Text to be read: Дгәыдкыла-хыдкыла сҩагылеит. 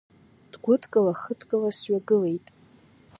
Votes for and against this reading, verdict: 2, 0, accepted